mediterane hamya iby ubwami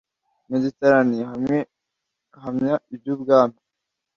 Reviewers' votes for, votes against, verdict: 1, 2, rejected